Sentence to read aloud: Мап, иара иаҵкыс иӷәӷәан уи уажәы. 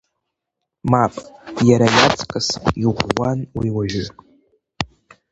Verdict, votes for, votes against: accepted, 2, 1